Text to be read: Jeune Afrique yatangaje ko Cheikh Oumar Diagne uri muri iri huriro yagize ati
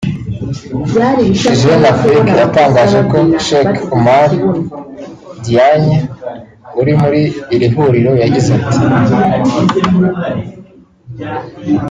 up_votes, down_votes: 1, 2